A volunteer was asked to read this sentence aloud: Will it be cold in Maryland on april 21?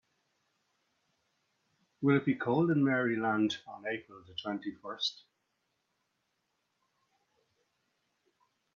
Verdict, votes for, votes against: rejected, 0, 2